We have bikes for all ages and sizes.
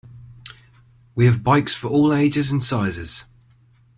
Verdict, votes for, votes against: accepted, 2, 0